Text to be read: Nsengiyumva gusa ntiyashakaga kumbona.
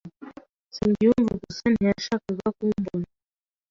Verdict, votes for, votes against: accepted, 4, 0